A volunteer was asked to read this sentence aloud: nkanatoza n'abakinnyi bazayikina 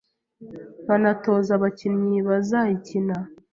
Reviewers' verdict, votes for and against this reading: accepted, 2, 0